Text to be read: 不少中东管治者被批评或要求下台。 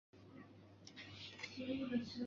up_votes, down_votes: 0, 4